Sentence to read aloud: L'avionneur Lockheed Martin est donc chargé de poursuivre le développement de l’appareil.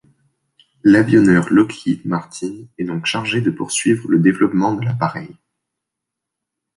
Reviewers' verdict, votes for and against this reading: accepted, 2, 0